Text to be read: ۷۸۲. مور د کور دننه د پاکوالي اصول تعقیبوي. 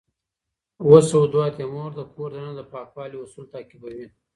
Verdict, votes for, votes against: rejected, 0, 2